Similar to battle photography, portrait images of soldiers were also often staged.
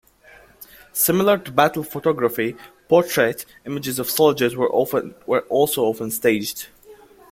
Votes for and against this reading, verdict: 1, 2, rejected